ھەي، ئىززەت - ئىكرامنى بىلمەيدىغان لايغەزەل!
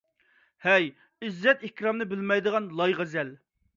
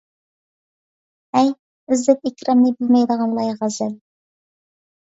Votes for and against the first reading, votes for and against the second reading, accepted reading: 2, 0, 1, 2, first